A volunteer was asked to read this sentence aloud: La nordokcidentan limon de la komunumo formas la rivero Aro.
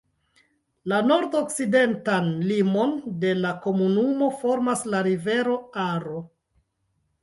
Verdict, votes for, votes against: rejected, 1, 2